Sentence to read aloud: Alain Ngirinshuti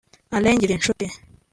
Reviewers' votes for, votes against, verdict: 2, 0, accepted